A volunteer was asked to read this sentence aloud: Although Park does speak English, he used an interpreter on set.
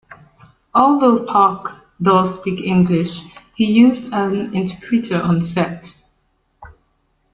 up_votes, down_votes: 2, 0